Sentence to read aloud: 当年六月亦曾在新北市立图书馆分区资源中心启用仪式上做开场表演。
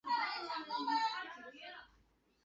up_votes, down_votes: 0, 3